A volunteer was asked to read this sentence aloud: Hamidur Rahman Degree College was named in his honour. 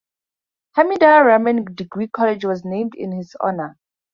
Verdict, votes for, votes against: accepted, 2, 0